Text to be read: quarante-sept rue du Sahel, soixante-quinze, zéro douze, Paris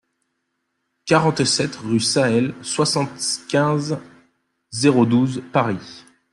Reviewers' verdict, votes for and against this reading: rejected, 0, 2